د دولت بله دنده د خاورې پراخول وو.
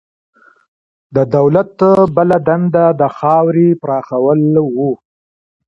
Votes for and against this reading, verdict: 2, 1, accepted